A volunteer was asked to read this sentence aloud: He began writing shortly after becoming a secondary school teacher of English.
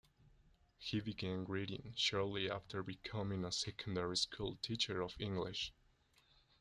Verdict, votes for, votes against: rejected, 1, 2